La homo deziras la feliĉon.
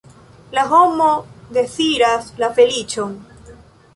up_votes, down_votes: 2, 0